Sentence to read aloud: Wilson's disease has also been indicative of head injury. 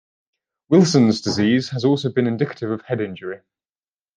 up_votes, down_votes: 2, 0